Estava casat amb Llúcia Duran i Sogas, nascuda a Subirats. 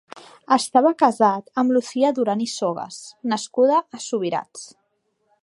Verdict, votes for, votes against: rejected, 0, 2